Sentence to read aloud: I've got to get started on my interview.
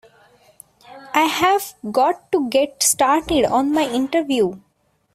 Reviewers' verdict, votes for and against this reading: rejected, 0, 2